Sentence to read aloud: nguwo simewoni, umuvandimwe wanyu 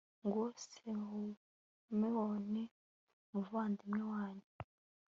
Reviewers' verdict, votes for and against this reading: accepted, 2, 0